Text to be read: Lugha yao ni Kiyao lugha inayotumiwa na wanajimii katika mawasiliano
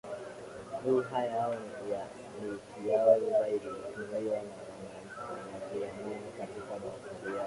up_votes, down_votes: 0, 2